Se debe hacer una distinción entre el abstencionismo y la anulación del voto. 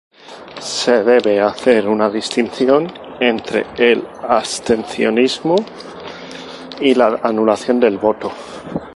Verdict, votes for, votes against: rejected, 2, 2